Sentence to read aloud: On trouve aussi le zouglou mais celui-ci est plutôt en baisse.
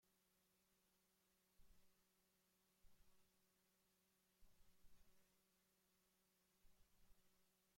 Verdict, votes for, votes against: rejected, 0, 2